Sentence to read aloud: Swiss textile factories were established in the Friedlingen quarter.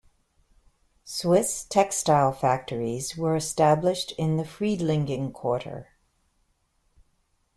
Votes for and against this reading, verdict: 2, 0, accepted